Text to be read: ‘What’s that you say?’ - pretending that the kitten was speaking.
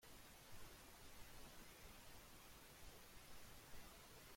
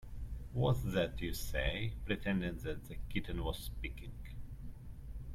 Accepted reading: second